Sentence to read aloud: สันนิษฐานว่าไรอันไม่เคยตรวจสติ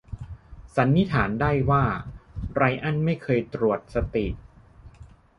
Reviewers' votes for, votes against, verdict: 0, 2, rejected